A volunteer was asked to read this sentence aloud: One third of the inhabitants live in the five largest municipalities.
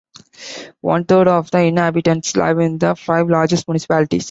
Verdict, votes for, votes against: rejected, 1, 3